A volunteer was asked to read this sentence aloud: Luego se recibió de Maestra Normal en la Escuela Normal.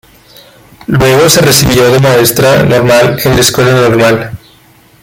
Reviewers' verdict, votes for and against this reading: accepted, 2, 1